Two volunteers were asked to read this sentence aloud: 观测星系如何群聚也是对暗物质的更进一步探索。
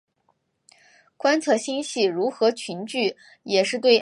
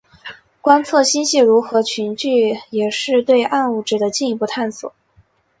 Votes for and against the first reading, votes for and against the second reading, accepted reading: 0, 3, 4, 0, second